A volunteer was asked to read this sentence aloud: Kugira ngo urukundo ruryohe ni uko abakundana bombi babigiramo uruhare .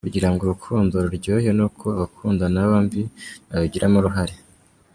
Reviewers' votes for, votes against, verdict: 3, 2, accepted